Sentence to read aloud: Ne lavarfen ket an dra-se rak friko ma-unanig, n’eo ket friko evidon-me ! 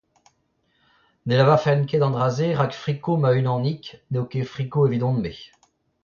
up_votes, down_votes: 0, 2